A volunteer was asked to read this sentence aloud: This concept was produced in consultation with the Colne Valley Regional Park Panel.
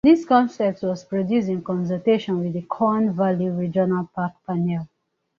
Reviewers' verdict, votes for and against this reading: accepted, 2, 0